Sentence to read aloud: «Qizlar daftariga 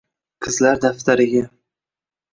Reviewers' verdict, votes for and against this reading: rejected, 1, 2